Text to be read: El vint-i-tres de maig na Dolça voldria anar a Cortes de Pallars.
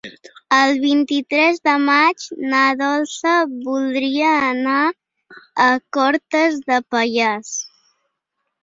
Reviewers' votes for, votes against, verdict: 4, 1, accepted